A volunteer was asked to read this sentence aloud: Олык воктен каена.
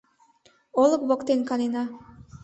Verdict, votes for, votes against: rejected, 0, 2